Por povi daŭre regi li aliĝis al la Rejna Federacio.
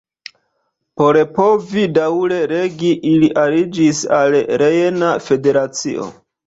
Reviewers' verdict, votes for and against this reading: rejected, 0, 2